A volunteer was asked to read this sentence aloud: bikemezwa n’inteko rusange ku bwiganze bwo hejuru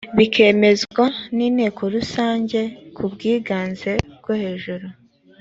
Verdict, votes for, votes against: accepted, 2, 0